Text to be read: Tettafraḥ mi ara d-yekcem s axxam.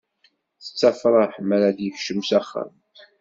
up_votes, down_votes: 2, 0